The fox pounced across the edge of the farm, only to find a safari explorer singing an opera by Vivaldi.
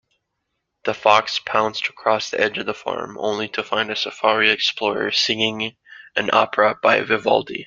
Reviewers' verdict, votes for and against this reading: accepted, 2, 1